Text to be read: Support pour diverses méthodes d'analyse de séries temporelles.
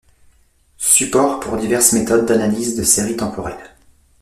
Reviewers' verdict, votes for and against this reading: accepted, 2, 0